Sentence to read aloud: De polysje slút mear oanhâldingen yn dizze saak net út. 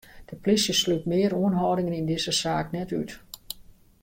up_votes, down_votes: 3, 2